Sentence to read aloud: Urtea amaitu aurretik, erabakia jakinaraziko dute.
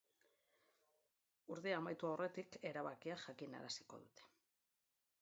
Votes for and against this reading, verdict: 0, 2, rejected